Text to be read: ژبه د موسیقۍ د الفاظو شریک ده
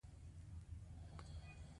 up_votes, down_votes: 1, 2